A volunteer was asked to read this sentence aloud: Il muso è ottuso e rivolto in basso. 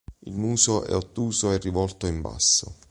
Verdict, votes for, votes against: accepted, 2, 0